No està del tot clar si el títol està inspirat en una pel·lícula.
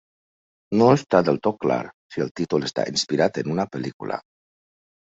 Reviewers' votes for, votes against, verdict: 2, 0, accepted